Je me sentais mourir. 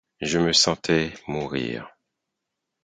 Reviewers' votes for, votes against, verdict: 4, 0, accepted